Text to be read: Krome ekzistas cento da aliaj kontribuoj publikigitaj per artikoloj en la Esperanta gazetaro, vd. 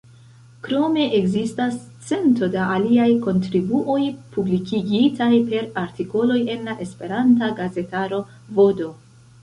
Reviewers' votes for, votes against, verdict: 1, 2, rejected